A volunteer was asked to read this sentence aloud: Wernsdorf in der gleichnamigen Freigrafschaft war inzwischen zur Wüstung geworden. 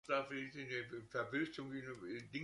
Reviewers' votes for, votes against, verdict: 0, 2, rejected